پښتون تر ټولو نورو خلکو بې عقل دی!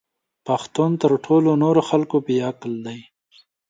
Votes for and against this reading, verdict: 5, 1, accepted